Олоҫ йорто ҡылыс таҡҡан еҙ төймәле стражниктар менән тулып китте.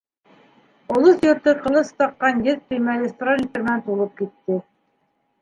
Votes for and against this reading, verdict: 1, 2, rejected